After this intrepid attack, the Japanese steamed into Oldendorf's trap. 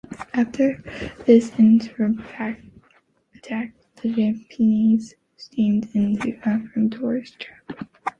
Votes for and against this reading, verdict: 0, 2, rejected